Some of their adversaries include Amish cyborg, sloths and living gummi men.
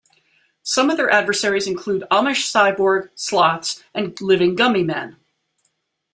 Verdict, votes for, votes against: accepted, 2, 0